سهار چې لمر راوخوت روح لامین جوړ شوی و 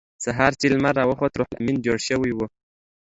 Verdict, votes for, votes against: accepted, 2, 0